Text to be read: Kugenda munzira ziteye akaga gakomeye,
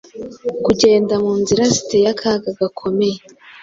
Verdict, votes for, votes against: accepted, 3, 0